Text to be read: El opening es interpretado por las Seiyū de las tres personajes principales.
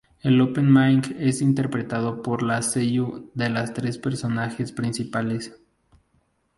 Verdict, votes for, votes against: rejected, 0, 2